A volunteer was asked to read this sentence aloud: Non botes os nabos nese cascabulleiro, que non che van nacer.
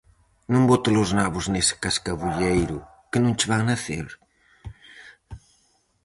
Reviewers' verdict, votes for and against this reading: rejected, 2, 2